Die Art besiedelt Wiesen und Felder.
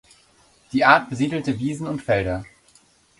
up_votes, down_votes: 1, 2